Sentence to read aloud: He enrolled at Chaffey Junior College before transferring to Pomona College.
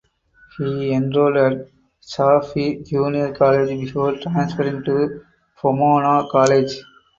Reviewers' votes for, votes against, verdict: 4, 0, accepted